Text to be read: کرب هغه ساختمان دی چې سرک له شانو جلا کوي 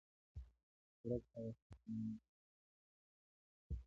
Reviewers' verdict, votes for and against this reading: rejected, 0, 2